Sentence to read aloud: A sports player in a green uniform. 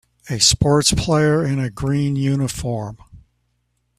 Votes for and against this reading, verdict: 2, 0, accepted